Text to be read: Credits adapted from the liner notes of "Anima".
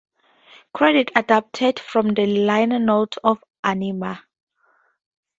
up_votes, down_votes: 2, 0